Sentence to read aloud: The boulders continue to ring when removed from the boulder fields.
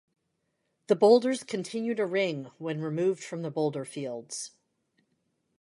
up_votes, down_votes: 2, 1